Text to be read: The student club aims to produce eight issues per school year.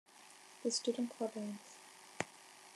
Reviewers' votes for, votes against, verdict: 0, 2, rejected